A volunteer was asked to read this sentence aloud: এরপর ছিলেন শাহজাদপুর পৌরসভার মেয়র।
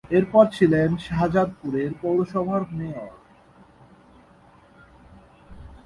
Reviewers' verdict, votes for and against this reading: rejected, 2, 2